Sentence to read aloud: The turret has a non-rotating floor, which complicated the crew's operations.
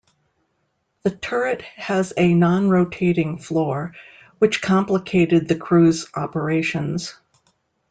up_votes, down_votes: 2, 0